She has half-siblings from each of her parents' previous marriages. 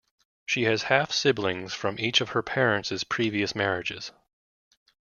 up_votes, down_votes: 2, 1